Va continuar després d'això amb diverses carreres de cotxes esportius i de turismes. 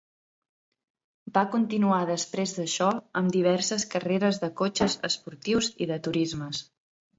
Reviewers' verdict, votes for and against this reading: accepted, 2, 0